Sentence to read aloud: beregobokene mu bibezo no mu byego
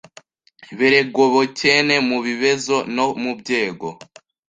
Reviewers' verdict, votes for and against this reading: rejected, 1, 2